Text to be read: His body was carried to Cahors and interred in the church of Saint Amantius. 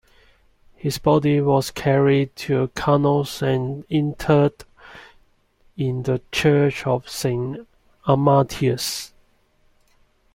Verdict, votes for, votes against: rejected, 1, 2